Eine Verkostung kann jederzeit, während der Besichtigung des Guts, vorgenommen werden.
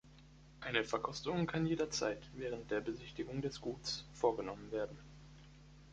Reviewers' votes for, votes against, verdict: 1, 2, rejected